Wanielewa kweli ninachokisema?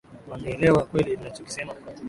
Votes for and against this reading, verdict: 2, 0, accepted